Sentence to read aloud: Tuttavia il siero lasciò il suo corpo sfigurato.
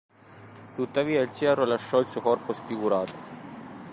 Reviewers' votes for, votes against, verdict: 0, 2, rejected